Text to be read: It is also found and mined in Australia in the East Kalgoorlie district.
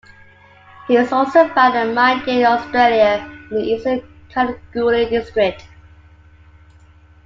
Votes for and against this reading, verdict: 2, 1, accepted